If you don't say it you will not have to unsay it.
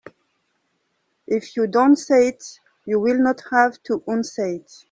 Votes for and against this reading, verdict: 2, 0, accepted